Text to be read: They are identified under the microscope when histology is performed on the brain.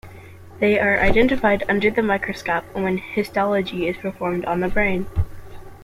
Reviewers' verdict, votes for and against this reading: rejected, 1, 2